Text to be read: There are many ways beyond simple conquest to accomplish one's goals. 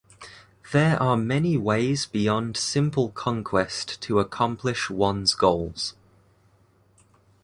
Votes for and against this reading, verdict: 2, 0, accepted